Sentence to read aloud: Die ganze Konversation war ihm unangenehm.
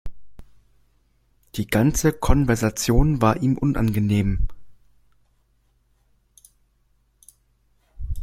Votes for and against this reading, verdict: 2, 0, accepted